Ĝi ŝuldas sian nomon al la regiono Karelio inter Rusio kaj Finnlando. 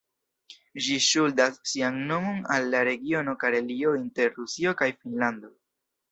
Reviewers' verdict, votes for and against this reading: accepted, 2, 0